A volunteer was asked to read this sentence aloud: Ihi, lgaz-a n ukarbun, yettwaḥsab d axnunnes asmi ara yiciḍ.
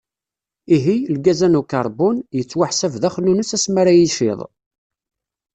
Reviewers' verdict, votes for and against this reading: accepted, 2, 0